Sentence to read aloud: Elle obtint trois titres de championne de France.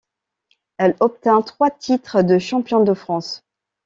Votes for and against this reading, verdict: 1, 2, rejected